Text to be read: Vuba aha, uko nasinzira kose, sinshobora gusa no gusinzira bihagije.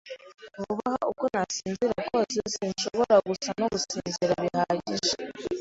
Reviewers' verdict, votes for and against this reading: accepted, 2, 0